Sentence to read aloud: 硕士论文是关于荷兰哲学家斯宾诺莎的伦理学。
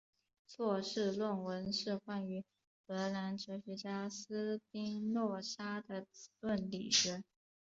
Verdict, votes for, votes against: accepted, 3, 0